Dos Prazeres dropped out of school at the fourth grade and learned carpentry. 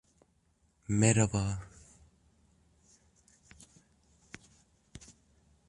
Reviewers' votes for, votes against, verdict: 0, 2, rejected